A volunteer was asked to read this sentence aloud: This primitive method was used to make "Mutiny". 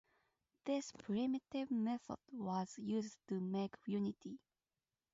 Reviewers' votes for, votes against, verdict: 2, 2, rejected